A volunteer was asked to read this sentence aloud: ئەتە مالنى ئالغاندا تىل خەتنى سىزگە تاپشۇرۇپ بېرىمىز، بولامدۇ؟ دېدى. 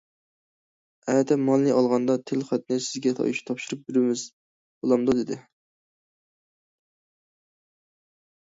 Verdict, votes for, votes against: rejected, 1, 2